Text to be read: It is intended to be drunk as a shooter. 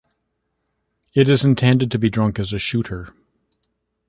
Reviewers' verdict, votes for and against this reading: accepted, 2, 0